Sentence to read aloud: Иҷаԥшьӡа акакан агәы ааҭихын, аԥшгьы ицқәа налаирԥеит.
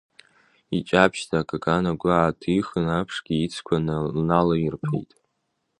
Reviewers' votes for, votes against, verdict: 0, 2, rejected